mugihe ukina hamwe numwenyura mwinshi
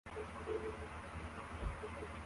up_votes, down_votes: 0, 2